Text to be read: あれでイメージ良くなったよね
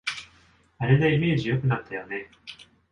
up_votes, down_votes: 2, 1